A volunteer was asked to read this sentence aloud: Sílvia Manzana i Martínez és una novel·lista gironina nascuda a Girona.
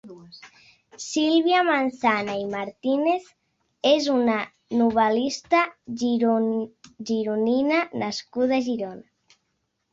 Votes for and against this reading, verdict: 1, 2, rejected